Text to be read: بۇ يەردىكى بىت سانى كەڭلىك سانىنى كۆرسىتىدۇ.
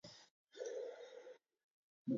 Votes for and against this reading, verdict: 0, 2, rejected